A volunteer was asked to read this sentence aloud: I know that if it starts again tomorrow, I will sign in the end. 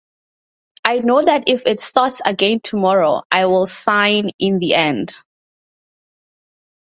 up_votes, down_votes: 4, 0